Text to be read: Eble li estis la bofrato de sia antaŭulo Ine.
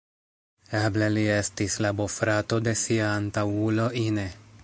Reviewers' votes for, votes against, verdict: 1, 2, rejected